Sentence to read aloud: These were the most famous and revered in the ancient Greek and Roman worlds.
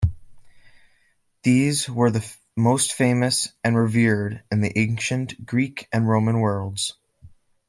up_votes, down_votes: 2, 0